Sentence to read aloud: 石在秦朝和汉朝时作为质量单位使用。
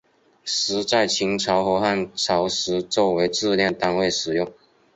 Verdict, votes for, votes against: accepted, 2, 1